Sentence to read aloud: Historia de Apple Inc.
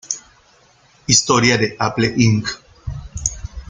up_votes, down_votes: 1, 2